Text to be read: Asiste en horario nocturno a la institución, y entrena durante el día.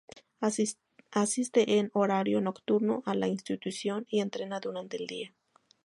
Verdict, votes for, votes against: accepted, 4, 2